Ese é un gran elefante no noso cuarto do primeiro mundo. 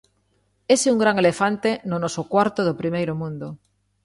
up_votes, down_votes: 2, 0